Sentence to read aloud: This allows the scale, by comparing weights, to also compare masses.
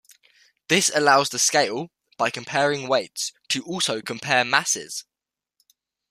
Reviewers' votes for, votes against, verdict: 2, 0, accepted